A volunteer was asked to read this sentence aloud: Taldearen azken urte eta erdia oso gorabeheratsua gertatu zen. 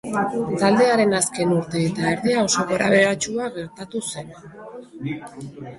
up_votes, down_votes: 2, 1